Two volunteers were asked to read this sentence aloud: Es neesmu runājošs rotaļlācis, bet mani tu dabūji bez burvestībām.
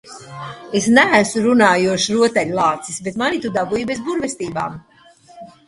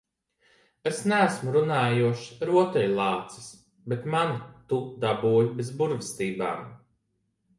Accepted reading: second